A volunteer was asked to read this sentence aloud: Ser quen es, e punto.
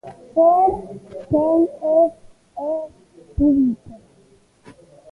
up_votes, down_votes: 1, 2